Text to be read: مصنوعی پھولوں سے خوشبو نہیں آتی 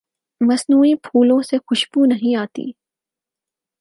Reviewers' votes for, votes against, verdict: 8, 0, accepted